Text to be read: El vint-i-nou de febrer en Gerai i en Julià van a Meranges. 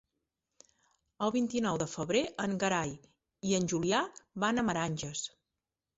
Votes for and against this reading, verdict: 2, 3, rejected